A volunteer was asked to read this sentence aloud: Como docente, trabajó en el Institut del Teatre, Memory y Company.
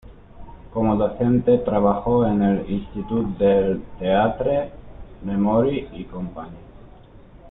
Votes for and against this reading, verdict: 1, 2, rejected